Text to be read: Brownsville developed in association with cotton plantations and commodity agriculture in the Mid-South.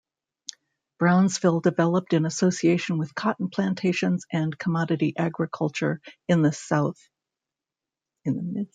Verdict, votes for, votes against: rejected, 0, 2